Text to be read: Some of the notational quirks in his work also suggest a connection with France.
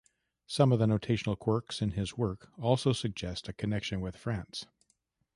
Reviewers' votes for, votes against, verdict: 2, 0, accepted